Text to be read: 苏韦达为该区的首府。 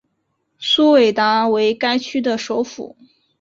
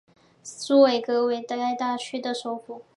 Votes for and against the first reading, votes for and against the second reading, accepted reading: 5, 0, 0, 3, first